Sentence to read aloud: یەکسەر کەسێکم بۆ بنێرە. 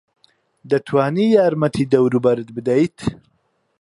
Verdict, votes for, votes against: rejected, 1, 2